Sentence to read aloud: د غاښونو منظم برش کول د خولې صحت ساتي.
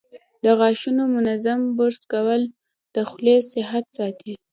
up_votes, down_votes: 2, 0